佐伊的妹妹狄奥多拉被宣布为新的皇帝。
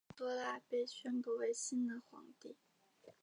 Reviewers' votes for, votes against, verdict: 0, 2, rejected